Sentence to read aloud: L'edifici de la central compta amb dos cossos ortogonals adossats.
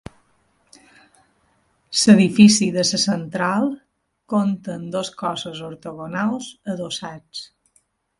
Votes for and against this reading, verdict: 0, 2, rejected